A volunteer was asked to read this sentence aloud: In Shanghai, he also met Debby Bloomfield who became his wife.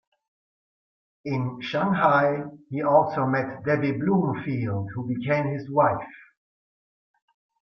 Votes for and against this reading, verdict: 1, 2, rejected